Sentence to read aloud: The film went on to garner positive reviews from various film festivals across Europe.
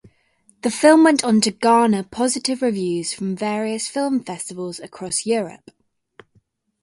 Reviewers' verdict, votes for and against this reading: accepted, 2, 0